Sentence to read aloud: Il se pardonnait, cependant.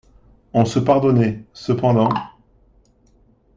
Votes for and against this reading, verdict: 0, 2, rejected